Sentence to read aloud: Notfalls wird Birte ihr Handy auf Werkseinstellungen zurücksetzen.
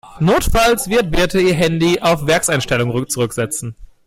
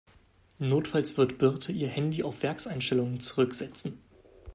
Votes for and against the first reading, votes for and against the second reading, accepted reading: 1, 2, 2, 0, second